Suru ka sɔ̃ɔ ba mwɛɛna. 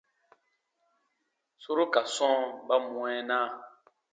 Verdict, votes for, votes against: accepted, 2, 0